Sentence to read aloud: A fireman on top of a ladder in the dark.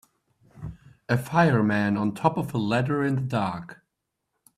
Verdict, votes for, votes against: accepted, 2, 0